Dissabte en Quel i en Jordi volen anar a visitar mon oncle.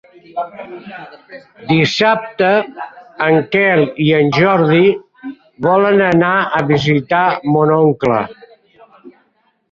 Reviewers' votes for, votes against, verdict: 2, 1, accepted